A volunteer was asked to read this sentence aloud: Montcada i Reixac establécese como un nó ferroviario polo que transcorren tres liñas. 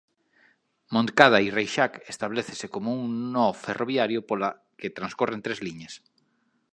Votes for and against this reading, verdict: 0, 2, rejected